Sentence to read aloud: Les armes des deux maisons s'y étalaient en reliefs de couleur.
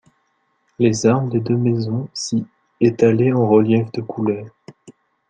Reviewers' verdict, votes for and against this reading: rejected, 1, 2